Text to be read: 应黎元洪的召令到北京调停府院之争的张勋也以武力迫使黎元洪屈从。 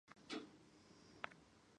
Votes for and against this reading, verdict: 0, 2, rejected